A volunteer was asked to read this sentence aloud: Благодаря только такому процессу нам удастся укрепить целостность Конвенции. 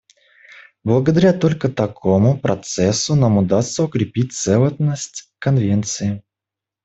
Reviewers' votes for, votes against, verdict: 2, 0, accepted